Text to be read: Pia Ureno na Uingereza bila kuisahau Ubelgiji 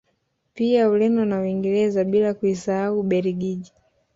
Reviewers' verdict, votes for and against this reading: rejected, 1, 2